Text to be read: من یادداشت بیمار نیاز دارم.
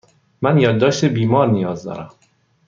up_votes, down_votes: 2, 0